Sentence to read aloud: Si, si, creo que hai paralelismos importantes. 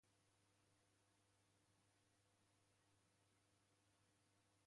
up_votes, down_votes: 0, 2